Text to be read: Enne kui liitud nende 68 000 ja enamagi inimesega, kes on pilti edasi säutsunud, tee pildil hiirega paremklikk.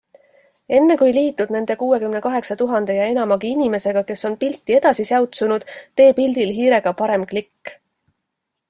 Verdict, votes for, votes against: rejected, 0, 2